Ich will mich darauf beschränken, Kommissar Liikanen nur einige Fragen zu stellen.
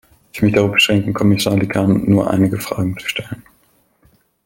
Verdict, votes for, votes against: rejected, 1, 2